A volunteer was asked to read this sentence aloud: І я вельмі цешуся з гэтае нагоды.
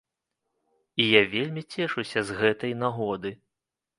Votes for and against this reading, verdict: 0, 2, rejected